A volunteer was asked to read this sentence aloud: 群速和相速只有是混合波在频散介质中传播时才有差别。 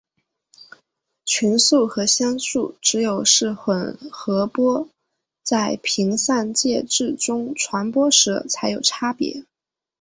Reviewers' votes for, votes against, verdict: 2, 1, accepted